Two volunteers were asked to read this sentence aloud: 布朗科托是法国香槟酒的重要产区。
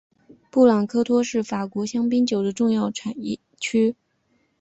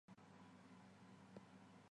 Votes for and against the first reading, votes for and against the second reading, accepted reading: 3, 1, 0, 2, first